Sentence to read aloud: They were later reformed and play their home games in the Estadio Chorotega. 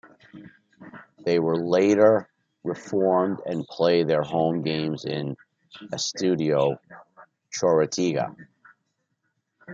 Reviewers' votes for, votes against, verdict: 1, 2, rejected